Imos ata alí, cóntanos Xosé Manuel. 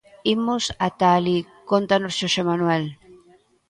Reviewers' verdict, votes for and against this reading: accepted, 2, 0